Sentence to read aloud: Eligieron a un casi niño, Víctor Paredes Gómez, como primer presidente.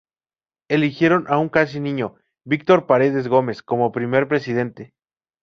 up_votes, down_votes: 2, 0